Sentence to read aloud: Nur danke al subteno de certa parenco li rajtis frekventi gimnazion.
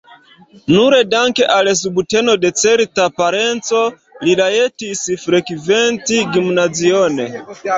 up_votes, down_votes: 1, 2